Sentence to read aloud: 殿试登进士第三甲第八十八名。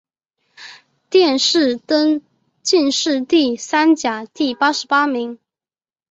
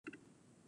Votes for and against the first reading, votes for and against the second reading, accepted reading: 3, 0, 0, 2, first